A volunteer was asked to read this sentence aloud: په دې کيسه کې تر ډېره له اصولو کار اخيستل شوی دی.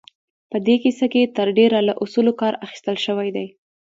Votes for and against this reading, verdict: 1, 2, rejected